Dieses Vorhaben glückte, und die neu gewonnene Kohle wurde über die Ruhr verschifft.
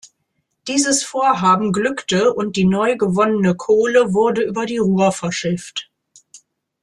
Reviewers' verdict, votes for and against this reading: accepted, 2, 0